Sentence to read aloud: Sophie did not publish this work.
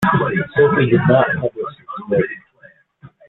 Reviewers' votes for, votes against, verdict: 1, 2, rejected